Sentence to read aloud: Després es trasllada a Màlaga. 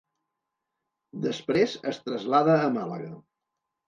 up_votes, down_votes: 0, 2